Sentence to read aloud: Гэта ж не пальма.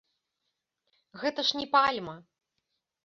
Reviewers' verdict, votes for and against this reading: accepted, 2, 0